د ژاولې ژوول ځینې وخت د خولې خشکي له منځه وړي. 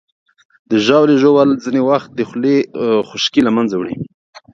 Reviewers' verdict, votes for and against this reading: accepted, 2, 0